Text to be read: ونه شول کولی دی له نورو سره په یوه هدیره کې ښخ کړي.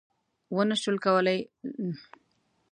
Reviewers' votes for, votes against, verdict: 0, 2, rejected